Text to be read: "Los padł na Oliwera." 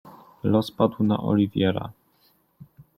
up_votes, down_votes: 1, 2